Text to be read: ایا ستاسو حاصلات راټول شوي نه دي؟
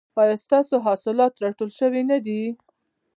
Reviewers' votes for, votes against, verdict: 2, 0, accepted